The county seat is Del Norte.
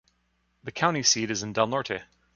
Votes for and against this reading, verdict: 2, 0, accepted